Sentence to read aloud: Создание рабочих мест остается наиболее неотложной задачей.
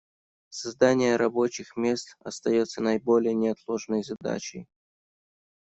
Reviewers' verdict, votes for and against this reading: accepted, 2, 0